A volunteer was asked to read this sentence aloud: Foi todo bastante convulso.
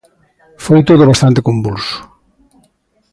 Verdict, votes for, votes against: accepted, 2, 0